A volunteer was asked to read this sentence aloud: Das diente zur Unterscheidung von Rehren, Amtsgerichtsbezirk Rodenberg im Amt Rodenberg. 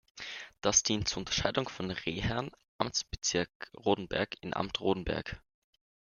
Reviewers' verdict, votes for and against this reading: rejected, 1, 2